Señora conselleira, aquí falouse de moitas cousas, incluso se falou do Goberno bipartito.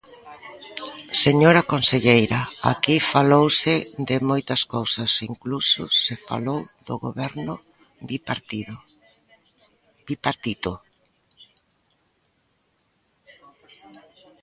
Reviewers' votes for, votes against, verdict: 1, 2, rejected